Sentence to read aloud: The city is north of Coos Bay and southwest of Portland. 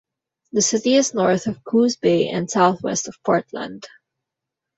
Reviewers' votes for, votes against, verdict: 2, 1, accepted